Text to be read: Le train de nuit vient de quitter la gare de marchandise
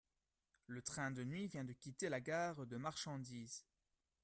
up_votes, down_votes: 0, 2